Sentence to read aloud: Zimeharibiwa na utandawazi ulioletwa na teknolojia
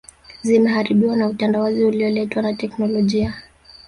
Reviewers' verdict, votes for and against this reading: rejected, 0, 2